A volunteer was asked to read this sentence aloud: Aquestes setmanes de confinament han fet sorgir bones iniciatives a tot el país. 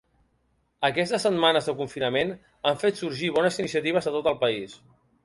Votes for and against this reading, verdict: 2, 0, accepted